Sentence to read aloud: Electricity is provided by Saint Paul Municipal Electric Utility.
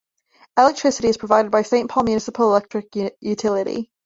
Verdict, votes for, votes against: rejected, 1, 2